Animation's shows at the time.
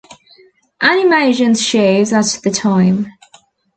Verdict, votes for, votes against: rejected, 0, 2